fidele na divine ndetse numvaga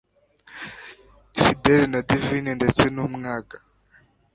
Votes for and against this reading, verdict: 0, 2, rejected